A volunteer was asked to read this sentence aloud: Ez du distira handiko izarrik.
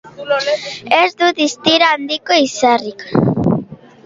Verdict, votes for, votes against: accepted, 2, 0